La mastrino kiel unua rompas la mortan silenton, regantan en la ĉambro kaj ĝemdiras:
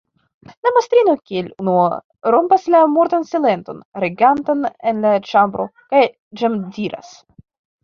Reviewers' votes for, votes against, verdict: 1, 2, rejected